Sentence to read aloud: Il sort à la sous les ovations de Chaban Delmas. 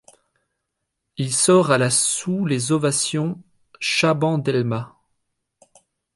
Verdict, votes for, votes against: rejected, 1, 2